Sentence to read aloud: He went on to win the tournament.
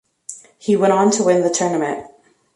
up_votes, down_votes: 2, 0